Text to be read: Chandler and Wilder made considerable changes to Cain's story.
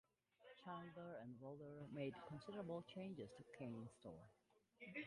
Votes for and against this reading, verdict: 1, 2, rejected